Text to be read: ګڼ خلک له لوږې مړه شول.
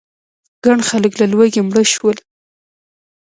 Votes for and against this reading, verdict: 1, 2, rejected